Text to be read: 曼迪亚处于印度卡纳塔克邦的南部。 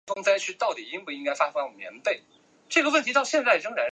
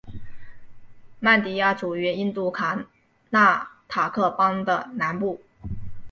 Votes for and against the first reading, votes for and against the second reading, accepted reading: 0, 3, 5, 1, second